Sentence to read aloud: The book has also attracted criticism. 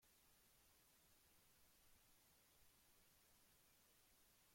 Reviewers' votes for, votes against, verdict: 0, 2, rejected